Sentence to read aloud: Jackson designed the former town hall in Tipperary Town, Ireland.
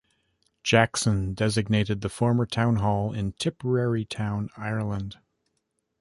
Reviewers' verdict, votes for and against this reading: rejected, 1, 2